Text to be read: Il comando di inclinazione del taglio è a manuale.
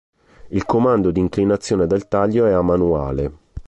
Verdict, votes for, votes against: accepted, 2, 0